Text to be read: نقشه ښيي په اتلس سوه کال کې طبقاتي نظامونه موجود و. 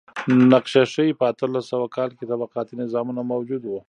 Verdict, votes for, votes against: rejected, 1, 2